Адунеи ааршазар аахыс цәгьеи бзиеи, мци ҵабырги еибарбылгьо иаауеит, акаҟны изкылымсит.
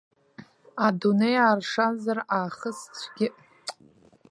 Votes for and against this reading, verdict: 0, 2, rejected